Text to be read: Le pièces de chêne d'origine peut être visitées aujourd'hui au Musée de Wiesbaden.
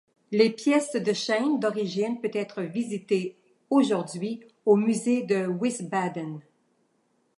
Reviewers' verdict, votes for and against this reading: accepted, 2, 1